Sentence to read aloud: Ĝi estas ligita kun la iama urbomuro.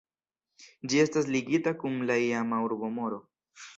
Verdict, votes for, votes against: accepted, 2, 1